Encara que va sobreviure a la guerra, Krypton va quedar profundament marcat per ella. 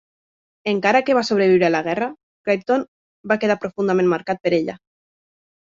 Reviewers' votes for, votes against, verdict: 2, 0, accepted